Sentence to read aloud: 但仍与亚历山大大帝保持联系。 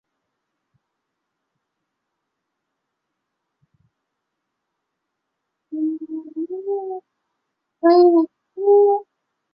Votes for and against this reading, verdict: 1, 4, rejected